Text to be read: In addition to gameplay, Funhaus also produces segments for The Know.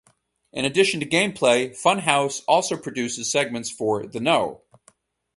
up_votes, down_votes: 2, 0